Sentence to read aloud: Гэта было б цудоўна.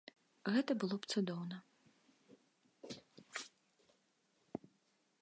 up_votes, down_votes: 2, 0